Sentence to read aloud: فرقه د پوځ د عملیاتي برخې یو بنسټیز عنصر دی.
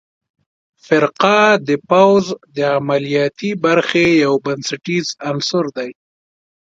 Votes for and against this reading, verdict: 2, 0, accepted